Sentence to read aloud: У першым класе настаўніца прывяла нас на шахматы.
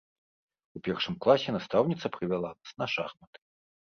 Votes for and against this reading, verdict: 2, 1, accepted